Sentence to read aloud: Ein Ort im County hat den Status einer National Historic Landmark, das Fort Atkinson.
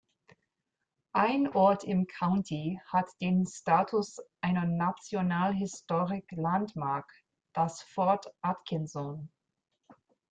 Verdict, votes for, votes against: rejected, 0, 2